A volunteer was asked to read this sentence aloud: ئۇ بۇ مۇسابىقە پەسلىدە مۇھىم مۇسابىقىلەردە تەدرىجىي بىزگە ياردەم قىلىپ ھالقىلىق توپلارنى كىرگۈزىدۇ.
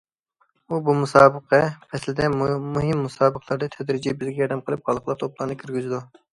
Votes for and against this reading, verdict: 0, 2, rejected